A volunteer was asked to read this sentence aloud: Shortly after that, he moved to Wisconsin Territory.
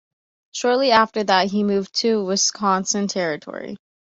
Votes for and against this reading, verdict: 2, 0, accepted